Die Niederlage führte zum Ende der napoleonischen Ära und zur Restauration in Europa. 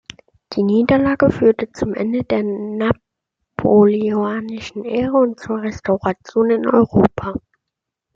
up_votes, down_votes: 0, 2